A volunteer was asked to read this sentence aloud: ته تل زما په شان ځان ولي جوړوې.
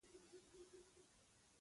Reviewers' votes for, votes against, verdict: 0, 2, rejected